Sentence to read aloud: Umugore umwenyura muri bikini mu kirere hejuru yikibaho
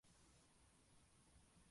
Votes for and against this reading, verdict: 0, 2, rejected